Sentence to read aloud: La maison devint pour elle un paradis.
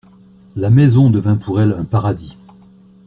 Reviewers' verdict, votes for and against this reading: accepted, 2, 0